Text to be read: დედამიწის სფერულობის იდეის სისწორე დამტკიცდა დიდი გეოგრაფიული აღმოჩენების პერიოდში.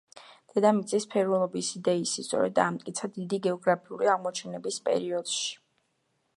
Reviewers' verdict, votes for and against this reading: accepted, 2, 1